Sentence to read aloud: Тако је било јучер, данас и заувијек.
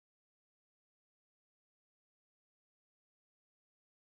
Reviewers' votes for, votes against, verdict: 0, 2, rejected